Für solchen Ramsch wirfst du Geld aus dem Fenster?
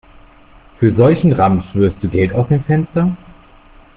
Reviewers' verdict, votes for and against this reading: accepted, 2, 0